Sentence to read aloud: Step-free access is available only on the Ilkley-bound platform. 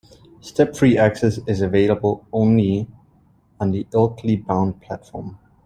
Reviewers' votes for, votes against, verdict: 2, 0, accepted